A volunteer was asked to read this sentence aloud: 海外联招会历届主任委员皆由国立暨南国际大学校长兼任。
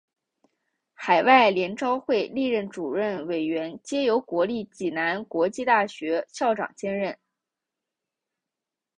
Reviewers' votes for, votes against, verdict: 0, 2, rejected